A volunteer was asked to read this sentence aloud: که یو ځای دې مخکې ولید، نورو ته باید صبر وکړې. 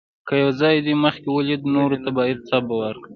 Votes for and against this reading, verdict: 1, 2, rejected